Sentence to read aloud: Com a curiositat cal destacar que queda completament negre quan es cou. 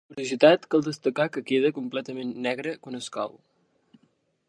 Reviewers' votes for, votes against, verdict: 0, 2, rejected